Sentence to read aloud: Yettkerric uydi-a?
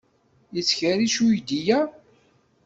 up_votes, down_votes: 2, 0